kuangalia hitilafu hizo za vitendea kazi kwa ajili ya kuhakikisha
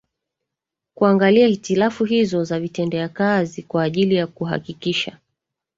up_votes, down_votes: 1, 2